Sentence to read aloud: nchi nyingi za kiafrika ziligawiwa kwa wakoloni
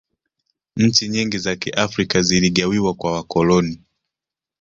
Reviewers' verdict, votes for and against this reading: accepted, 2, 0